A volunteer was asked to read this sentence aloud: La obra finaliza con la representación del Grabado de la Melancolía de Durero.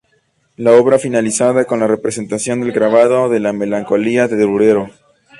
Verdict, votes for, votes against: accepted, 2, 0